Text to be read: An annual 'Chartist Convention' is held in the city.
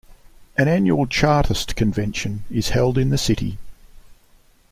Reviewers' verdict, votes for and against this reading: accepted, 2, 1